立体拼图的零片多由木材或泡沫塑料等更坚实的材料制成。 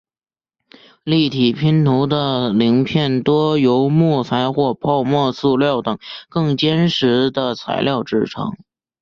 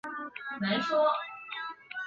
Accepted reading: first